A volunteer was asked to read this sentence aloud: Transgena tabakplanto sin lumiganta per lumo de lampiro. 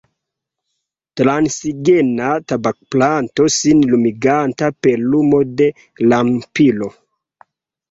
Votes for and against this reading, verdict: 2, 0, accepted